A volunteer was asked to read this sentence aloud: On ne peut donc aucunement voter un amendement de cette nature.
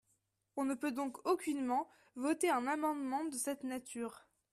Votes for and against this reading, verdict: 2, 0, accepted